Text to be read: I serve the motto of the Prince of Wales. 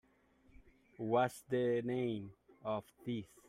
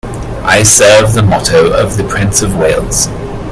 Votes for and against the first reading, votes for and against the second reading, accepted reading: 0, 2, 2, 0, second